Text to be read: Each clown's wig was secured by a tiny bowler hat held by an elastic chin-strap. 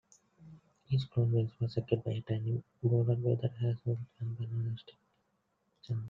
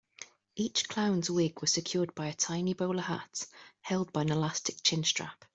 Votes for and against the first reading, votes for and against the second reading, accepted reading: 0, 2, 2, 0, second